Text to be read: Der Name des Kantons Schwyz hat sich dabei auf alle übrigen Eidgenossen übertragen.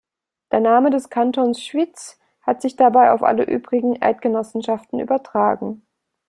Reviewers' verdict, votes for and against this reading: rejected, 0, 2